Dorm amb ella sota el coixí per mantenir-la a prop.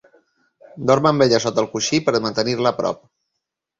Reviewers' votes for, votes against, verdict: 3, 1, accepted